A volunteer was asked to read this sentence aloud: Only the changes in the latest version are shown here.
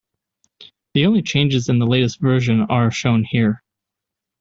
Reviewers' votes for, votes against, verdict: 0, 2, rejected